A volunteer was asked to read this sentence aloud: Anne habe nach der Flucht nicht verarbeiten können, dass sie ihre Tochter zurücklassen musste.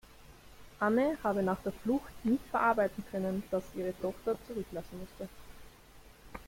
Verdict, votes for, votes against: rejected, 1, 2